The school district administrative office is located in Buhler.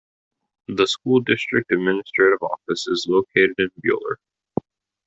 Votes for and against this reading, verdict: 1, 2, rejected